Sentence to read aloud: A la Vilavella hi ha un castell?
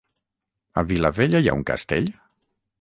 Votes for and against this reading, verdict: 3, 6, rejected